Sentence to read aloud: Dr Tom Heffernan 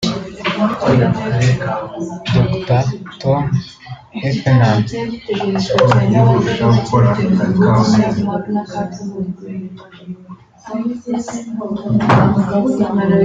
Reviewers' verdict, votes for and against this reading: rejected, 0, 2